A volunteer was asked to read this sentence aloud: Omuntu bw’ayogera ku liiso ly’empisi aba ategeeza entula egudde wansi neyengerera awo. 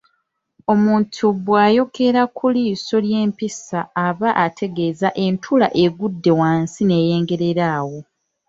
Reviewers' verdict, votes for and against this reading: rejected, 0, 2